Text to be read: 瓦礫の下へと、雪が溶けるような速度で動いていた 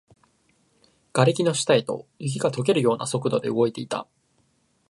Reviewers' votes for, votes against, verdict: 4, 1, accepted